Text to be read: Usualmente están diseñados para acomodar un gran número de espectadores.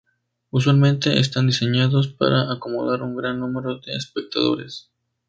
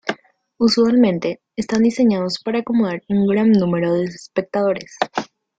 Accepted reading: first